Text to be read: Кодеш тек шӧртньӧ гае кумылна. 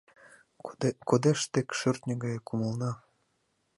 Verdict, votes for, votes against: rejected, 0, 2